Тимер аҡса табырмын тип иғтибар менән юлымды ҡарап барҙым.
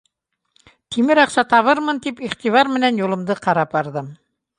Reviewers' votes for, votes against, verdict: 2, 0, accepted